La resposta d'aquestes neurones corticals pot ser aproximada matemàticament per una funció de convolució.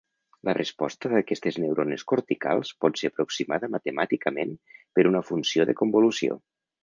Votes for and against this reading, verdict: 2, 0, accepted